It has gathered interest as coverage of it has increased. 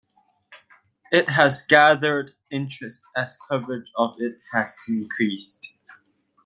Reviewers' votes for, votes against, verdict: 2, 0, accepted